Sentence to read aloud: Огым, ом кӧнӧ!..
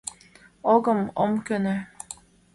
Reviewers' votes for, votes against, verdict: 2, 0, accepted